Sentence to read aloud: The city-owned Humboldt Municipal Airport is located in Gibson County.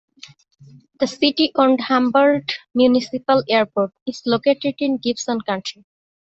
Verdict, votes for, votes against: rejected, 0, 2